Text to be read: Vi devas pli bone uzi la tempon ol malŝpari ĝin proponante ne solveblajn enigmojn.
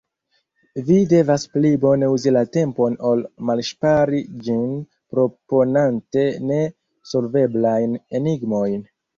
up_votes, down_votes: 2, 0